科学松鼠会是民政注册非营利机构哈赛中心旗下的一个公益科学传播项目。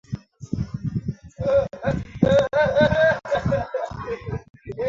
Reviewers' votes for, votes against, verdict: 0, 5, rejected